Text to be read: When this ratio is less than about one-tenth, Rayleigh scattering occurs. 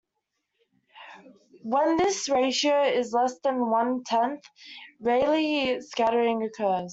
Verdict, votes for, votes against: rejected, 0, 2